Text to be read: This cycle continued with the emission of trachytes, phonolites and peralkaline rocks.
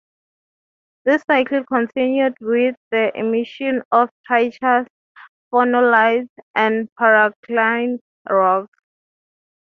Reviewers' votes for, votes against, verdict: 0, 3, rejected